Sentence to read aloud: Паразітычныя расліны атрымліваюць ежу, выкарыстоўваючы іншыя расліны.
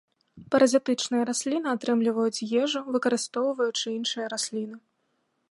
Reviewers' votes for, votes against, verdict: 2, 0, accepted